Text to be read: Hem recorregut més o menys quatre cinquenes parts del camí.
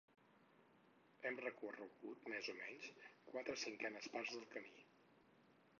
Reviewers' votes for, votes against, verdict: 2, 4, rejected